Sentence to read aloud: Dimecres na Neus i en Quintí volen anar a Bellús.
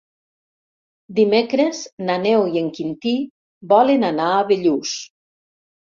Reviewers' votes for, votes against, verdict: 0, 2, rejected